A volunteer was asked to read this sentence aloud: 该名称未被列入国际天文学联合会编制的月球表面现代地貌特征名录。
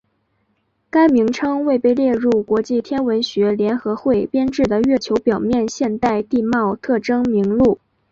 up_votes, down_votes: 2, 0